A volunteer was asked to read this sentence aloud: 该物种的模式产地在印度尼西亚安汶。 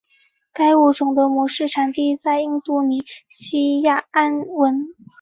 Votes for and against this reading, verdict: 4, 0, accepted